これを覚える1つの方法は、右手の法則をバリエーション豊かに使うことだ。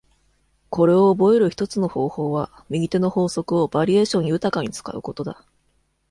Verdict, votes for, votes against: rejected, 0, 2